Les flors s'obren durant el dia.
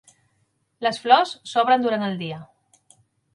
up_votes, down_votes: 3, 0